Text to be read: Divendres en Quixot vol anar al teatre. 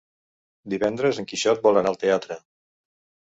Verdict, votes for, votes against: accepted, 3, 0